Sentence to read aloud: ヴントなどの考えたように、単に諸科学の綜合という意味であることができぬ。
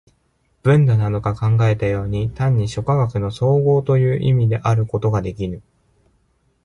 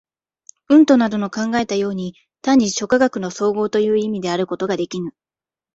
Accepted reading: second